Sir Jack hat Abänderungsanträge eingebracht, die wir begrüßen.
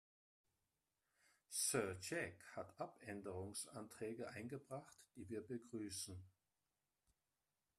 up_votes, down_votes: 1, 2